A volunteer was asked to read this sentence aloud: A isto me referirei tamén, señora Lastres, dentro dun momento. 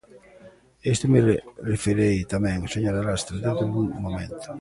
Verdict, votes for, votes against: rejected, 0, 2